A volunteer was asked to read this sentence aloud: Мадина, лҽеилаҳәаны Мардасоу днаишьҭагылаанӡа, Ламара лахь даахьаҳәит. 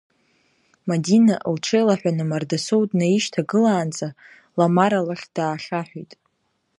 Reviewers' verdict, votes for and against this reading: accepted, 2, 0